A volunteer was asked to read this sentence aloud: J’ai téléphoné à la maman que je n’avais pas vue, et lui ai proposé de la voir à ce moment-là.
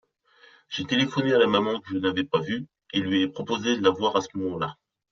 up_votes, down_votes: 2, 0